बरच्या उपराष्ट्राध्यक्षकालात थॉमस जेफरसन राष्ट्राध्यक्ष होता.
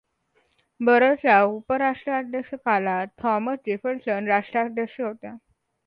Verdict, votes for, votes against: rejected, 1, 2